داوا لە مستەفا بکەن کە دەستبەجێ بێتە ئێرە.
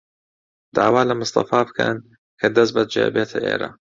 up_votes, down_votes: 2, 0